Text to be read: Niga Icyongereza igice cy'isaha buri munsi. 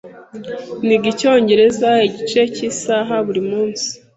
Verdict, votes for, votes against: accepted, 2, 0